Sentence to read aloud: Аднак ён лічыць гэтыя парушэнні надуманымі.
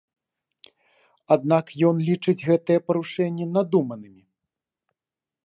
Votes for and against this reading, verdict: 2, 0, accepted